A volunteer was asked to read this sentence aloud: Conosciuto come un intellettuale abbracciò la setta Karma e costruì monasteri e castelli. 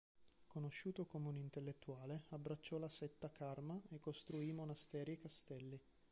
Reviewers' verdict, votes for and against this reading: accepted, 2, 1